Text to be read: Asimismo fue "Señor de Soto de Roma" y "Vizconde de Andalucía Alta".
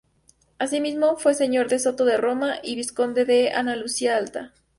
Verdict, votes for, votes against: rejected, 0, 2